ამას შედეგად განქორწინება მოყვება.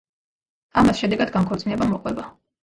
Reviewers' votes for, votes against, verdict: 2, 1, accepted